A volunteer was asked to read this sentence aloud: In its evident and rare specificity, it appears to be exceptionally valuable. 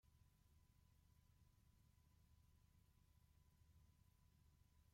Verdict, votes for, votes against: rejected, 0, 2